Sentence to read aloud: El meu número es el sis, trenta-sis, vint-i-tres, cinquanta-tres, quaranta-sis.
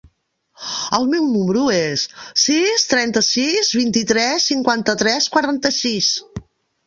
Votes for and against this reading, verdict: 0, 2, rejected